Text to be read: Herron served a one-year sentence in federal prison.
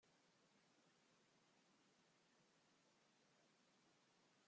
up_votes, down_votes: 0, 2